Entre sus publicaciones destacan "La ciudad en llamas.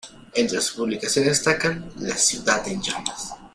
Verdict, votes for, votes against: accepted, 2, 0